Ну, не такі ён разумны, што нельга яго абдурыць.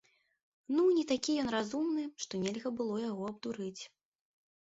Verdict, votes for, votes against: rejected, 0, 2